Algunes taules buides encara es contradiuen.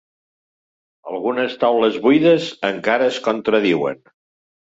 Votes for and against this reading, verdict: 2, 0, accepted